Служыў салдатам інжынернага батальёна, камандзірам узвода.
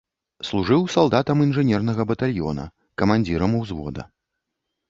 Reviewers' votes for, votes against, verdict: 2, 0, accepted